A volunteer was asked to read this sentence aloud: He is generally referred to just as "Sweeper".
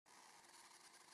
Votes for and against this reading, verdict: 0, 2, rejected